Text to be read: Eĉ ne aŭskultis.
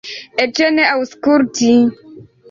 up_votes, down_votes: 1, 2